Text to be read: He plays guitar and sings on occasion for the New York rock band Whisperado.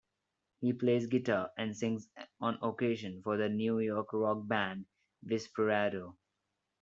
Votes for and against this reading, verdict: 1, 2, rejected